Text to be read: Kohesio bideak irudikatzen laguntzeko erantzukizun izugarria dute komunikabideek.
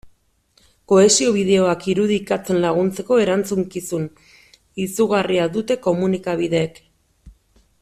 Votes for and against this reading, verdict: 1, 2, rejected